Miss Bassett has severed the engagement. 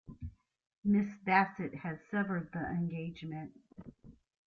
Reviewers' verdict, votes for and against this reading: rejected, 1, 2